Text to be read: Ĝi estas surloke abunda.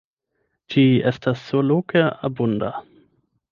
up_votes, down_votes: 4, 8